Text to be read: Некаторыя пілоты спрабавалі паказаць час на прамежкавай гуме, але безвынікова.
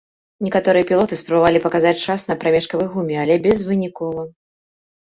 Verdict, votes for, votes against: accepted, 2, 0